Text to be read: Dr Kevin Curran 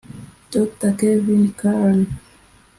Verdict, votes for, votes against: rejected, 0, 2